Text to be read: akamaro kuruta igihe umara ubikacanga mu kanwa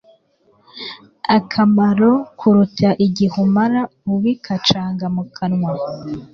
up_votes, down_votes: 3, 0